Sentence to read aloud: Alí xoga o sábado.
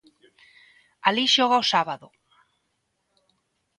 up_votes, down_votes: 2, 0